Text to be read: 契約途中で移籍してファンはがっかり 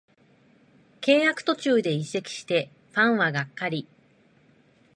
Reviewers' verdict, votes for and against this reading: accepted, 2, 0